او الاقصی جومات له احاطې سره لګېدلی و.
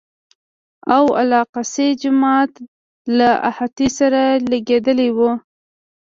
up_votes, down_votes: 1, 2